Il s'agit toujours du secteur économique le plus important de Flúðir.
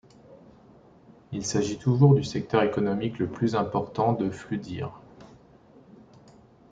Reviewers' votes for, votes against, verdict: 2, 0, accepted